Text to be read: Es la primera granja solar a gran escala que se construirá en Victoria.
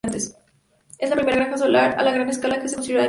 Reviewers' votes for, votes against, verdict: 0, 2, rejected